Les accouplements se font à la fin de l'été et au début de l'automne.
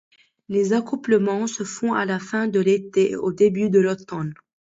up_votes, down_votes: 1, 2